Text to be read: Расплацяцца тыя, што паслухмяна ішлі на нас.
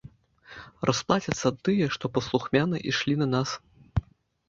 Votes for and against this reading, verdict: 2, 0, accepted